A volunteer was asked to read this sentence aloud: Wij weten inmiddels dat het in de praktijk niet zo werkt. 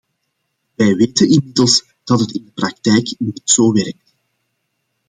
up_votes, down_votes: 2, 1